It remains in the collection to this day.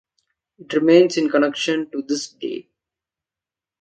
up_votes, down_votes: 0, 2